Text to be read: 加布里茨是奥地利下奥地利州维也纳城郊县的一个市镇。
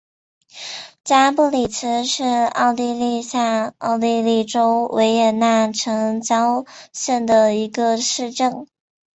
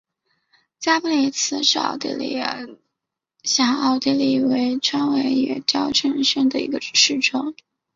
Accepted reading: first